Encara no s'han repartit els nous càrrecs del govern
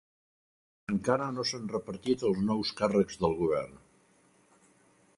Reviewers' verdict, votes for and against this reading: accepted, 2, 0